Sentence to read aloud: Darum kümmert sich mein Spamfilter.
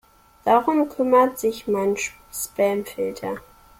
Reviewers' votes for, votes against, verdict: 1, 2, rejected